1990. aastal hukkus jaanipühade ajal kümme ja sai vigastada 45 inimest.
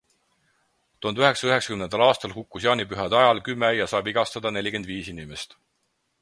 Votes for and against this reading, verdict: 0, 2, rejected